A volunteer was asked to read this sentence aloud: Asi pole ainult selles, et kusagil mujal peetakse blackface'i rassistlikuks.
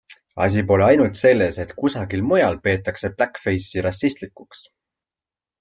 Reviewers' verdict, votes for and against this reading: accepted, 2, 0